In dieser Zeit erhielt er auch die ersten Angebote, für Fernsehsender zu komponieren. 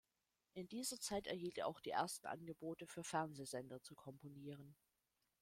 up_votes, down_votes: 0, 2